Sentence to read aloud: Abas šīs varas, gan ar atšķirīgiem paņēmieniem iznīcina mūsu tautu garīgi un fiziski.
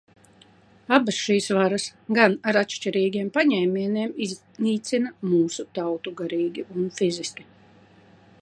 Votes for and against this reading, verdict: 2, 1, accepted